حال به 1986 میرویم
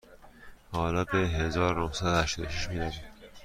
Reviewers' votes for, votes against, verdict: 0, 2, rejected